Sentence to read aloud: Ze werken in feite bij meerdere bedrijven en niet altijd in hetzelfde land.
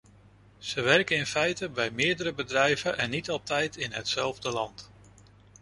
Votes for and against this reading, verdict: 2, 0, accepted